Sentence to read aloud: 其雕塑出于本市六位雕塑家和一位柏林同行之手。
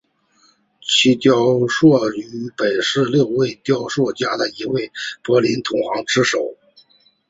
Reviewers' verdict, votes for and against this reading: rejected, 0, 3